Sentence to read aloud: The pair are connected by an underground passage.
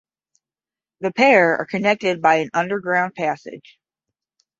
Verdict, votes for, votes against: accepted, 5, 0